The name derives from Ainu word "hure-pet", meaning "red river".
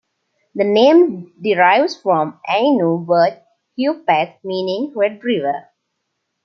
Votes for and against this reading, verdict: 2, 0, accepted